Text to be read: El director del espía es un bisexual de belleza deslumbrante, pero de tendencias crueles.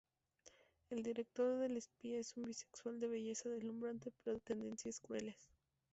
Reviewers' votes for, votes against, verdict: 2, 0, accepted